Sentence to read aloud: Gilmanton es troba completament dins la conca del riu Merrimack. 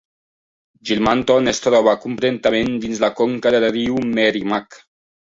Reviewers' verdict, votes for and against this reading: rejected, 1, 2